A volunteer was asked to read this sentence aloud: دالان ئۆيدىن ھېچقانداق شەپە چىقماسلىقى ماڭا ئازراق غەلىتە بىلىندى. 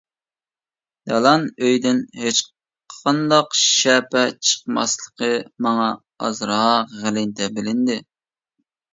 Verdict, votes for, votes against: accepted, 2, 1